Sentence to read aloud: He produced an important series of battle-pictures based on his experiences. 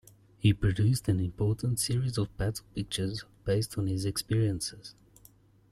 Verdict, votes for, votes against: accepted, 2, 1